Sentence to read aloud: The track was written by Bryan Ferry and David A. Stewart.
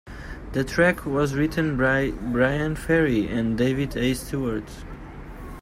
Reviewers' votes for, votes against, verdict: 0, 2, rejected